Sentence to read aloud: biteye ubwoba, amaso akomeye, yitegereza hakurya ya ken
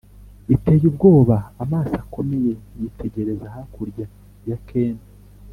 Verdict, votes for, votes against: accepted, 2, 0